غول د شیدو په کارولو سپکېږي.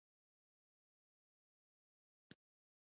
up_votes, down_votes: 0, 2